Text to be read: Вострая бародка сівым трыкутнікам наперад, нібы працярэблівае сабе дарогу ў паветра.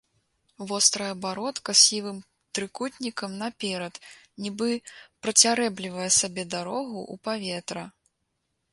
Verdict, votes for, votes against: accepted, 2, 1